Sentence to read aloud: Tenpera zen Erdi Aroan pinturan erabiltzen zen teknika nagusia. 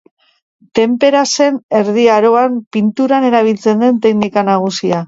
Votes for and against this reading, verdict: 1, 2, rejected